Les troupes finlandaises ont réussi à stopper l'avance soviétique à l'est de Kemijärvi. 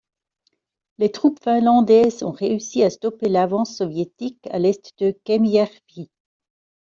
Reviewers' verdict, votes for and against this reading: rejected, 1, 2